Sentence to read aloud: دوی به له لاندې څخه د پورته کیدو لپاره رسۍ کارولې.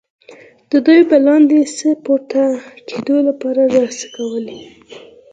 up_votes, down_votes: 4, 0